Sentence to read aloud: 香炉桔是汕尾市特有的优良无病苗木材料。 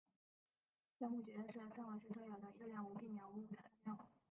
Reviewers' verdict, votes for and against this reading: rejected, 0, 3